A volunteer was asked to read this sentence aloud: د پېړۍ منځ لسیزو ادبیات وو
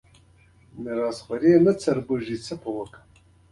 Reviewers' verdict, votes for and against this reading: accepted, 2, 0